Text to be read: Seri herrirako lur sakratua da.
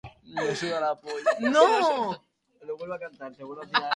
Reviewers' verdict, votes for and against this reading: rejected, 0, 2